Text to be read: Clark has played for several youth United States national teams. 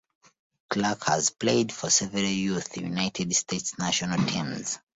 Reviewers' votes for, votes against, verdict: 2, 0, accepted